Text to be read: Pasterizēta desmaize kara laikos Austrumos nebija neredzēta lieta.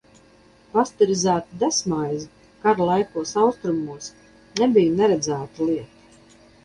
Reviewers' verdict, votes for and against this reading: rejected, 0, 2